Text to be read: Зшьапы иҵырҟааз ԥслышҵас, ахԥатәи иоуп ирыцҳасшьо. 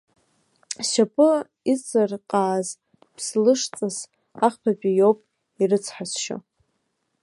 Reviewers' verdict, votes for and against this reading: accepted, 2, 1